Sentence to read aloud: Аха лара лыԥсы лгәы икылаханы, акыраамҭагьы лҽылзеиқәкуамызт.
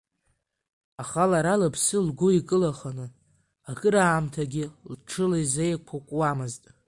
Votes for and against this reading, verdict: 1, 2, rejected